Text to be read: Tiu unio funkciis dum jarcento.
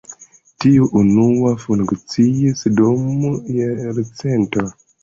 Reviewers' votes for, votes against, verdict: 0, 2, rejected